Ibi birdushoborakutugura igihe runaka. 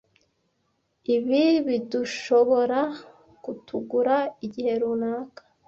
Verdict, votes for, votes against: rejected, 1, 2